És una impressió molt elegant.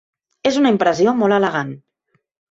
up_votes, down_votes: 3, 0